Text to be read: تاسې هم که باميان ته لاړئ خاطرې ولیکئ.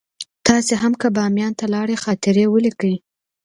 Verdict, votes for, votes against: accepted, 2, 0